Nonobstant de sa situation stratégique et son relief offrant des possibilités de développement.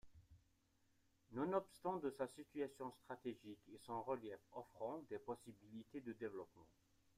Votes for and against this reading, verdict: 2, 1, accepted